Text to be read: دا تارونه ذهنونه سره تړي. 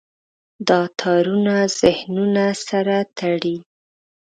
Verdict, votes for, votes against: accepted, 2, 0